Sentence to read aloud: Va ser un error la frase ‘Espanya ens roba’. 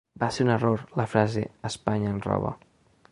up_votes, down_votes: 2, 0